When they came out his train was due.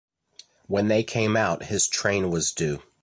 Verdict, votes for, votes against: accepted, 2, 0